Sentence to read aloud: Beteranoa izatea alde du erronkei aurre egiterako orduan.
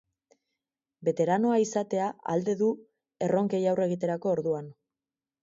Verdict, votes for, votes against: accepted, 4, 0